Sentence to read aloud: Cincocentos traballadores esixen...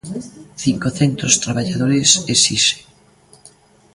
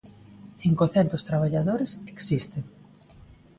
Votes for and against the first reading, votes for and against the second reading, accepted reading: 2, 0, 1, 2, first